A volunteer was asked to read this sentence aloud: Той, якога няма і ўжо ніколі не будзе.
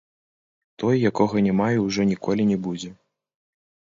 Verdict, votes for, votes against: rejected, 1, 2